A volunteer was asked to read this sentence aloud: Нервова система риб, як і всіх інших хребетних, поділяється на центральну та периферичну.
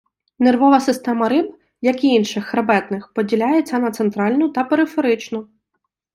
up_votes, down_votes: 0, 2